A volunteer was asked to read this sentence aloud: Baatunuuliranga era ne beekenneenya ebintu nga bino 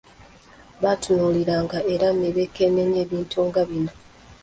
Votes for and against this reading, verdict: 2, 0, accepted